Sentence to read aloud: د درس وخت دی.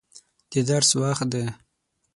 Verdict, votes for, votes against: rejected, 3, 6